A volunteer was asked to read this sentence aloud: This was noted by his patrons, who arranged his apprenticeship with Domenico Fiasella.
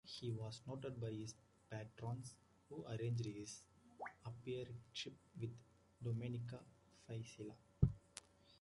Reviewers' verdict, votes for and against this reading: rejected, 1, 2